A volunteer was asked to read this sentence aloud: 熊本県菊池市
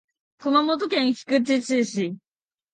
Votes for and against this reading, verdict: 1, 3, rejected